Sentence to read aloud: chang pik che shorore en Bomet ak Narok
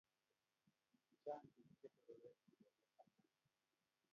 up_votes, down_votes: 0, 2